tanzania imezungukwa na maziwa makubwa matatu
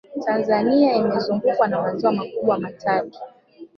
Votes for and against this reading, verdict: 2, 1, accepted